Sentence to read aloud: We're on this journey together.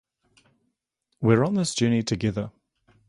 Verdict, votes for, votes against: accepted, 2, 0